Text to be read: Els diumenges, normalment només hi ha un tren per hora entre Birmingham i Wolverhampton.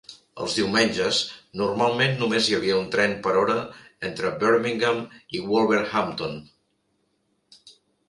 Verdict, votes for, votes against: rejected, 1, 3